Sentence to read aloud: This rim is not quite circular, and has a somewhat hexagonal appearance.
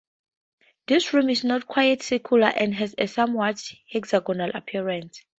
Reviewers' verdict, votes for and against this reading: accepted, 4, 2